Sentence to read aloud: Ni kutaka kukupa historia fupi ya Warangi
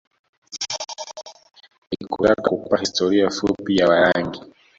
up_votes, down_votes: 0, 2